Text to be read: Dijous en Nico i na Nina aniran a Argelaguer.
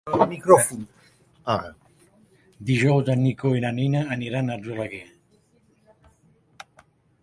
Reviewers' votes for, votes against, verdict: 1, 2, rejected